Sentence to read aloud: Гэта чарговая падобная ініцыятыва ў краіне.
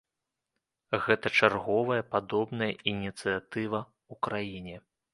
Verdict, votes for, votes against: accepted, 3, 0